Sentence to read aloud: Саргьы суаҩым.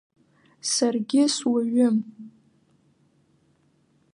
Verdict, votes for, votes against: accepted, 2, 0